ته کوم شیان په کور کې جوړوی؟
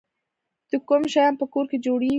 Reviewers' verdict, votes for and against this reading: rejected, 0, 2